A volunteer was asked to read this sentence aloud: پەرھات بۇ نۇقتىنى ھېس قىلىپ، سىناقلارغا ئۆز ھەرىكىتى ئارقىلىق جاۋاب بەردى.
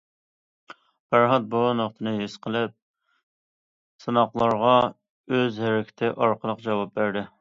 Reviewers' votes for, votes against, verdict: 2, 0, accepted